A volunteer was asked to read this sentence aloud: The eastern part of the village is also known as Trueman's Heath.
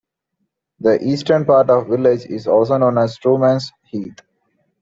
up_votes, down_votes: 2, 0